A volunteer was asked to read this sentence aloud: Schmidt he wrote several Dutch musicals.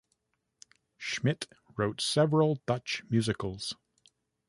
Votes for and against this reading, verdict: 0, 2, rejected